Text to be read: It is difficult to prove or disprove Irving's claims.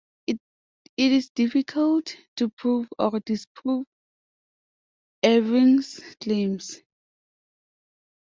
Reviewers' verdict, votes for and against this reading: rejected, 1, 2